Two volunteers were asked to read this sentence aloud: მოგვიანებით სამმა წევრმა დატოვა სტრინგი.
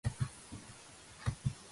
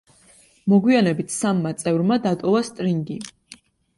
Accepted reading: second